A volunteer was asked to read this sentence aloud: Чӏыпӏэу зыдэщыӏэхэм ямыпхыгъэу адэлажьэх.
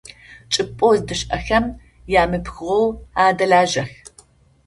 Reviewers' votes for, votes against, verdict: 2, 0, accepted